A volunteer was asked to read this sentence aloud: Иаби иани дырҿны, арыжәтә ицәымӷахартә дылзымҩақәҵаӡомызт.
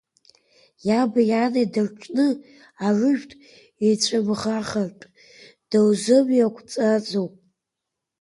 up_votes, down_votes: 1, 2